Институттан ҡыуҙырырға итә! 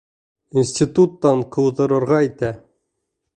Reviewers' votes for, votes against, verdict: 1, 2, rejected